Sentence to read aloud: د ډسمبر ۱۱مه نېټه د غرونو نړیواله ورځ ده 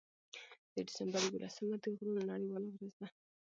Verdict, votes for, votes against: rejected, 0, 2